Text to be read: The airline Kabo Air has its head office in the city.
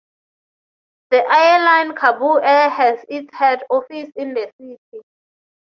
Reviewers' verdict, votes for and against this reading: accepted, 3, 0